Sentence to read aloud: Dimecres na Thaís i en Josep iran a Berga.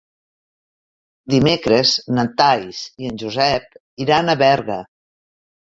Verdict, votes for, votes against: rejected, 1, 2